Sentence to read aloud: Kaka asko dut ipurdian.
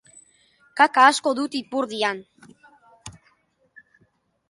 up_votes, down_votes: 2, 0